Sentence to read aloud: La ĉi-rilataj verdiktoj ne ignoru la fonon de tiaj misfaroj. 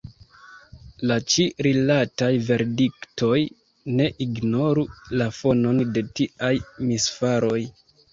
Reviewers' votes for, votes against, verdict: 2, 0, accepted